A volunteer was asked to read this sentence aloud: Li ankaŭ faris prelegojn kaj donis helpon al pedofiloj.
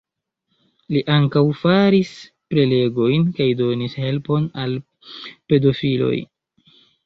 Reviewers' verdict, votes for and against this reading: accepted, 3, 0